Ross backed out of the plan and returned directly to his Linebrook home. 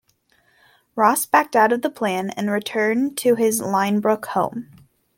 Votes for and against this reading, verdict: 0, 2, rejected